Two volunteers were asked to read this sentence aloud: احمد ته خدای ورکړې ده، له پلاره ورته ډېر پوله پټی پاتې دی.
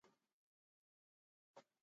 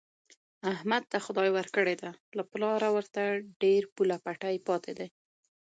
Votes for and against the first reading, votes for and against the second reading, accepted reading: 1, 2, 2, 0, second